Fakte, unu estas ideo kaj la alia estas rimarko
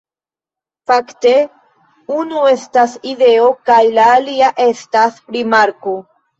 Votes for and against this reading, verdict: 3, 0, accepted